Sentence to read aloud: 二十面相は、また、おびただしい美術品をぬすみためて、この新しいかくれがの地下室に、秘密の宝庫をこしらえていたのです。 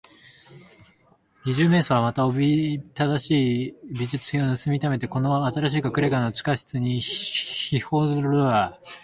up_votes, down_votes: 6, 15